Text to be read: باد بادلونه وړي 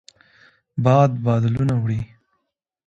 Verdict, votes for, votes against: accepted, 2, 0